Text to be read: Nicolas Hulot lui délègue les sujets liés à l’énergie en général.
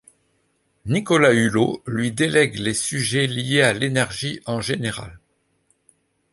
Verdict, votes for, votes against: accepted, 2, 0